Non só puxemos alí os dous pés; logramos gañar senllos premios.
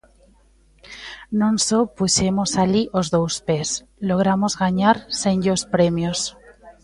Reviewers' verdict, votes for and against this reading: rejected, 1, 2